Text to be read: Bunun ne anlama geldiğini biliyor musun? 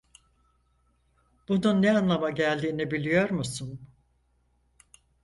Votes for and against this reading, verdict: 4, 0, accepted